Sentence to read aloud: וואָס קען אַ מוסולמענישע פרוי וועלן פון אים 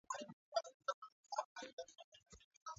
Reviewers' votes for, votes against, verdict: 0, 2, rejected